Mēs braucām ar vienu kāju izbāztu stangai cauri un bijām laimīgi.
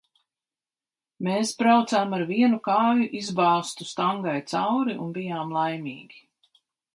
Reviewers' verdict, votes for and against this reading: accepted, 2, 0